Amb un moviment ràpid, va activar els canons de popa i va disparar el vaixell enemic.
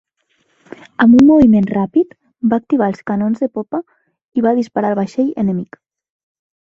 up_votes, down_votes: 3, 0